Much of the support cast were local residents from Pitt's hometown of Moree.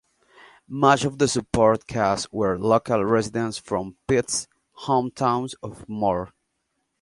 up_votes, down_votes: 0, 2